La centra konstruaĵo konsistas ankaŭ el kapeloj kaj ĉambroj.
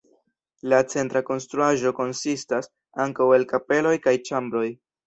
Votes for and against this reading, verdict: 2, 1, accepted